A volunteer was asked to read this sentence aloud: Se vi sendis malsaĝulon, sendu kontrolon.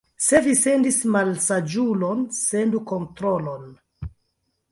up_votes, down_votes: 0, 2